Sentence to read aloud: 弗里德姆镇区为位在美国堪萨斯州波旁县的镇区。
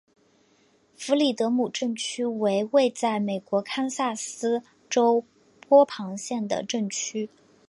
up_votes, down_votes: 3, 1